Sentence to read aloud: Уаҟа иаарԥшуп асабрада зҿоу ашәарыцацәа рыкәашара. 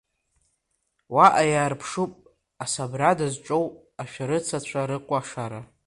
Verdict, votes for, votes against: accepted, 3, 2